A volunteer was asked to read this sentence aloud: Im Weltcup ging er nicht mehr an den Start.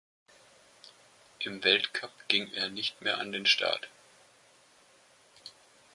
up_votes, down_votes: 2, 0